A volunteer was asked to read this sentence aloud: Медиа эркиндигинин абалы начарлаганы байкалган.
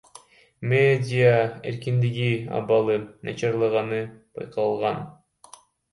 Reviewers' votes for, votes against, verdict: 0, 2, rejected